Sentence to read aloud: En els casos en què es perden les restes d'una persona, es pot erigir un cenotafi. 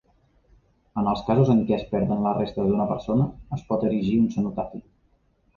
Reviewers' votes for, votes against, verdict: 2, 0, accepted